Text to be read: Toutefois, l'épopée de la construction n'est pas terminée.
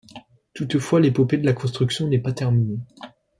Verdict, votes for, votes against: accepted, 2, 0